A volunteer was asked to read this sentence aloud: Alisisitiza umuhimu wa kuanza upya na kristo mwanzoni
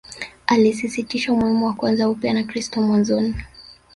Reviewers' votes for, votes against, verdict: 0, 2, rejected